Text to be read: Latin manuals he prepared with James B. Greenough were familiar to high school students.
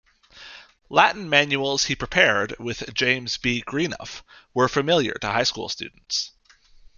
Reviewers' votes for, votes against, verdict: 2, 0, accepted